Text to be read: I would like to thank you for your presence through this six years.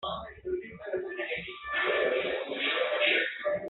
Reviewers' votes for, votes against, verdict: 0, 2, rejected